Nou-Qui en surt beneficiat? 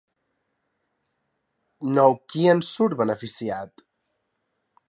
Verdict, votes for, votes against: accepted, 2, 0